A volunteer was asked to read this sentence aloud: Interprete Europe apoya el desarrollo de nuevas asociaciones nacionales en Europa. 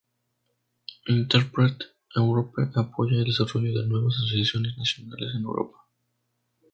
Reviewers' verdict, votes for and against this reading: rejected, 0, 2